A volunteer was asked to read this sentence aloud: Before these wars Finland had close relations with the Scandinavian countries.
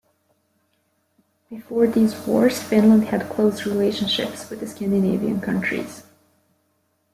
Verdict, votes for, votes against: rejected, 0, 2